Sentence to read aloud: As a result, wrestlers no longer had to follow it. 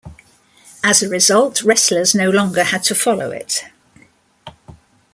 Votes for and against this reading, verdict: 2, 0, accepted